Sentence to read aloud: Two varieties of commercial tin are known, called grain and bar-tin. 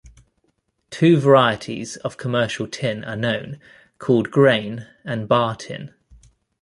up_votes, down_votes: 2, 0